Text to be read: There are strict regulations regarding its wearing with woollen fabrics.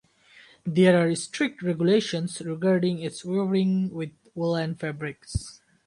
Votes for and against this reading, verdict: 2, 0, accepted